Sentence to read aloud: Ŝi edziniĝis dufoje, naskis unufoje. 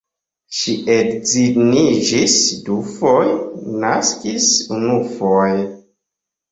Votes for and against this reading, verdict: 2, 1, accepted